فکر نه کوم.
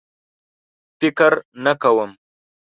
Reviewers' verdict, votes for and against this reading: accepted, 2, 0